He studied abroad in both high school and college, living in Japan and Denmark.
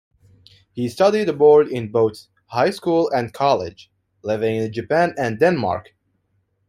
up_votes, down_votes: 2, 0